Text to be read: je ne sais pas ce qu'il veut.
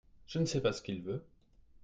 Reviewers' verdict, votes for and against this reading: accepted, 2, 0